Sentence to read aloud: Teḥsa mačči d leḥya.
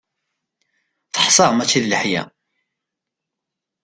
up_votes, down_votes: 2, 0